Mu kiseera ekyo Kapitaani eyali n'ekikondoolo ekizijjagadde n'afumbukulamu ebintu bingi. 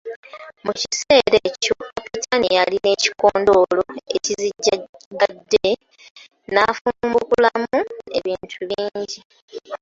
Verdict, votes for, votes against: rejected, 0, 2